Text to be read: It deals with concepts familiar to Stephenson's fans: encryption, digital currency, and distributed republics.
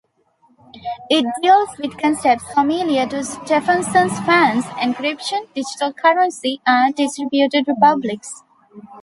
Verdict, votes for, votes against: rejected, 0, 2